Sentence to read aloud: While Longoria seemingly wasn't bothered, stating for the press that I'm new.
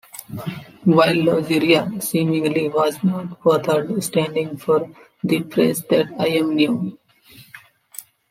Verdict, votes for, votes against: rejected, 0, 2